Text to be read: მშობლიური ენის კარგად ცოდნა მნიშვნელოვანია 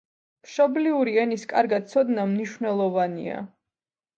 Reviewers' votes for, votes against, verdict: 1, 2, rejected